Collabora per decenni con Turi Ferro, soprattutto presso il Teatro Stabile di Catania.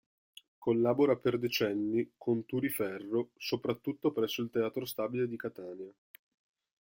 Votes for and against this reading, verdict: 2, 0, accepted